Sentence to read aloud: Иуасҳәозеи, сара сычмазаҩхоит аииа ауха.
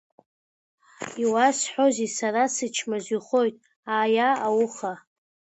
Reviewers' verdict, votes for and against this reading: accepted, 2, 1